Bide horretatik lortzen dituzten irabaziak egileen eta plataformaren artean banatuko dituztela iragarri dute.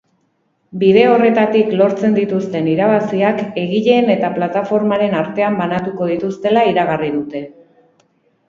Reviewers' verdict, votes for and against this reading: accepted, 2, 0